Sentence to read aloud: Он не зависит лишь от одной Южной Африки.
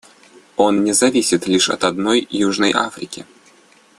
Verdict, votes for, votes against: accepted, 2, 0